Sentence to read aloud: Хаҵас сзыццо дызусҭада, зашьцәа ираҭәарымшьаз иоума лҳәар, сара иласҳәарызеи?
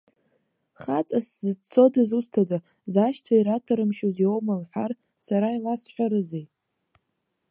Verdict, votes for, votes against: accepted, 2, 0